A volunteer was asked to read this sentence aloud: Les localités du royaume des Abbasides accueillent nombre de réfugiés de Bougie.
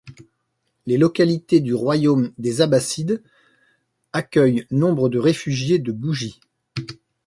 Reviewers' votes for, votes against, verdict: 2, 1, accepted